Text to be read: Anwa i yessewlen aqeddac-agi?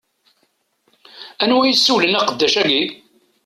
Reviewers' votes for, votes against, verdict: 2, 0, accepted